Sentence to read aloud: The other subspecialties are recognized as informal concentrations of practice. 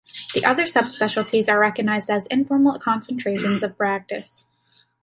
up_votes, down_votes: 2, 0